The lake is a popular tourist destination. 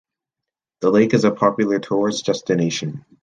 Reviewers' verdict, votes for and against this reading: accepted, 2, 0